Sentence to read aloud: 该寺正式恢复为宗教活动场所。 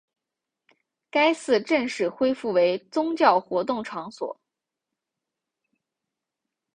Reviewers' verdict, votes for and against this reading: accepted, 2, 0